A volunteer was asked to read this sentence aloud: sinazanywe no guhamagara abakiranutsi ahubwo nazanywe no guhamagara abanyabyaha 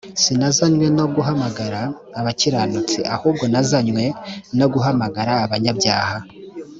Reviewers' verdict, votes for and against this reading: accepted, 3, 0